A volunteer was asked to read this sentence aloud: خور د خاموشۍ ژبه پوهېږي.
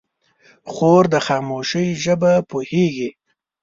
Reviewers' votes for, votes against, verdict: 1, 2, rejected